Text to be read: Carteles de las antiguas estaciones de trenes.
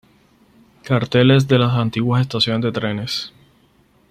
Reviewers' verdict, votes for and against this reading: accepted, 4, 0